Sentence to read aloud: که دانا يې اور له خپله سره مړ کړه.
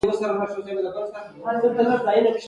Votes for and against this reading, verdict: 2, 0, accepted